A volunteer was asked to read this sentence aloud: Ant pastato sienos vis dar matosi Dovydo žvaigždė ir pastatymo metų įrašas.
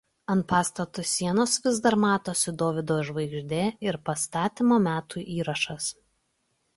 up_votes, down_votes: 2, 0